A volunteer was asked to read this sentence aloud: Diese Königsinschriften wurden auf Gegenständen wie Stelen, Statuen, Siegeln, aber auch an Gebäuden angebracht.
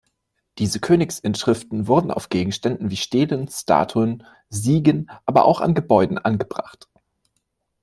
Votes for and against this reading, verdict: 0, 2, rejected